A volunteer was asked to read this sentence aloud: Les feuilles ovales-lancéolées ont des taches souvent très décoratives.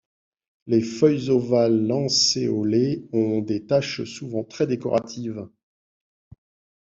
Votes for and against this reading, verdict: 2, 0, accepted